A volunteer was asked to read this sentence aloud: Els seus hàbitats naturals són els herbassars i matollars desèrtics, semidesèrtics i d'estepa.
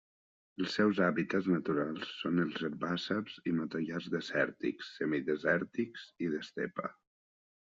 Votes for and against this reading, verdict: 1, 2, rejected